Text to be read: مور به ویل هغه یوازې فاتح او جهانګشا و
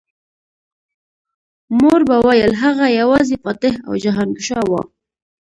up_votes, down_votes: 2, 0